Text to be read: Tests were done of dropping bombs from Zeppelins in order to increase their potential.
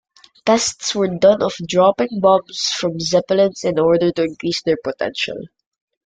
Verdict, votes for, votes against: rejected, 1, 3